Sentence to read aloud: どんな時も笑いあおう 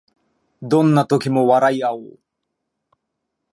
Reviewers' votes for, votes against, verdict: 2, 1, accepted